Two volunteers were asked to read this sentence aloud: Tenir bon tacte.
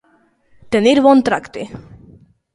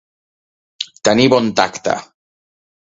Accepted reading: second